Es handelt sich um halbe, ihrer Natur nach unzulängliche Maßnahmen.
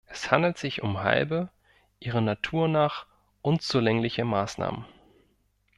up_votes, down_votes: 2, 0